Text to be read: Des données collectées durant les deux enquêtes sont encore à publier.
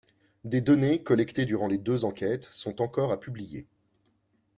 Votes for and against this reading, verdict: 2, 0, accepted